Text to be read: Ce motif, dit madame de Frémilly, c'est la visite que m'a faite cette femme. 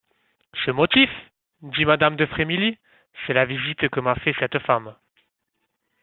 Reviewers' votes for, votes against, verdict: 0, 2, rejected